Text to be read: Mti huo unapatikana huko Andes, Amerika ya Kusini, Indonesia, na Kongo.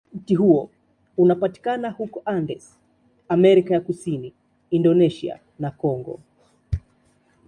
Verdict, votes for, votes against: accepted, 2, 0